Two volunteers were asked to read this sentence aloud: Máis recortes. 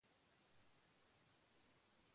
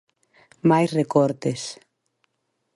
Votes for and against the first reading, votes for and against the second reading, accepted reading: 0, 2, 2, 0, second